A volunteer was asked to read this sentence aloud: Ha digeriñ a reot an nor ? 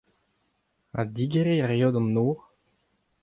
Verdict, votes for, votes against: accepted, 2, 0